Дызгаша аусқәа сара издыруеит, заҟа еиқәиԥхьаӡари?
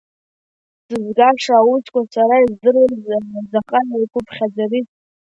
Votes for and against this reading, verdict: 0, 2, rejected